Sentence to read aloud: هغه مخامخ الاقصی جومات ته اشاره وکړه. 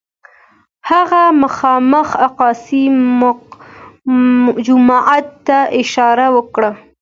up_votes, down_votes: 2, 0